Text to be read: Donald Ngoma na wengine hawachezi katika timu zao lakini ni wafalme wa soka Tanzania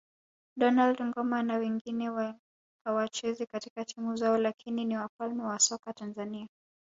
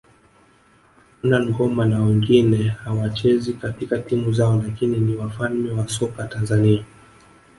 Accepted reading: second